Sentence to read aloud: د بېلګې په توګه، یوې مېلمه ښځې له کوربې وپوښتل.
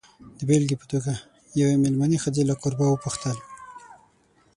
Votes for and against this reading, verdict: 9, 12, rejected